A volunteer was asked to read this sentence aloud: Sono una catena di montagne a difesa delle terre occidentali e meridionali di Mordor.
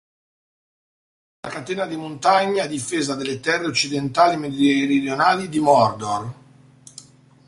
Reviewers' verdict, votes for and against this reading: rejected, 0, 2